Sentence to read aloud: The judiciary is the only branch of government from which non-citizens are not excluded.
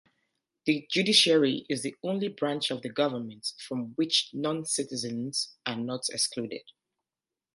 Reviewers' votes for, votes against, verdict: 0, 2, rejected